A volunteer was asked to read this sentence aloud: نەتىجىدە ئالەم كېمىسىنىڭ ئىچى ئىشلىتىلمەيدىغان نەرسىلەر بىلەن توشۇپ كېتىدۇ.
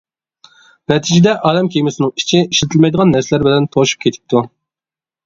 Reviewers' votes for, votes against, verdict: 1, 2, rejected